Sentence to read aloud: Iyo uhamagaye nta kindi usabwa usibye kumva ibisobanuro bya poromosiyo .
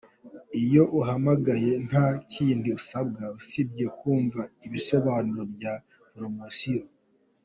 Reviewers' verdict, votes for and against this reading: accepted, 2, 0